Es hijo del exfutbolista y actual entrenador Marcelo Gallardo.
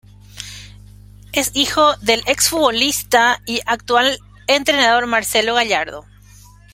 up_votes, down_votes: 1, 2